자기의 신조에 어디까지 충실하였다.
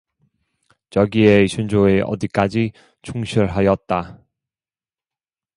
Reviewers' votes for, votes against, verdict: 2, 0, accepted